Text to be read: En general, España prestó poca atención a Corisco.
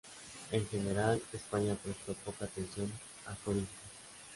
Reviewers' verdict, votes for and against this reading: accepted, 2, 0